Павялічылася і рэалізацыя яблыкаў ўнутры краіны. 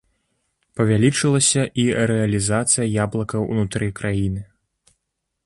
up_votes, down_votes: 3, 0